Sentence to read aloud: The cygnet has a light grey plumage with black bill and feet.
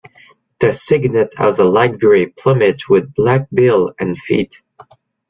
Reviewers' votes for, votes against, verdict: 2, 0, accepted